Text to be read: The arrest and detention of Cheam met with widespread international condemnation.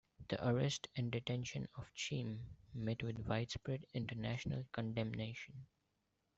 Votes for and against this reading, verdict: 2, 1, accepted